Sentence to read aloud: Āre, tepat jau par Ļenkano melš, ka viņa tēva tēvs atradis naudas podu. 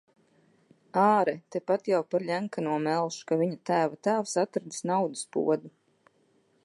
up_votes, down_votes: 1, 2